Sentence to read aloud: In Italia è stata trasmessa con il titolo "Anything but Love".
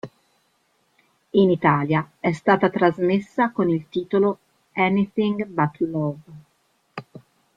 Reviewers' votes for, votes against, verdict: 0, 2, rejected